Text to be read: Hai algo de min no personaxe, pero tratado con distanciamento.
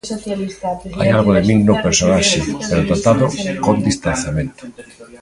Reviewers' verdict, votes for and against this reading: rejected, 1, 2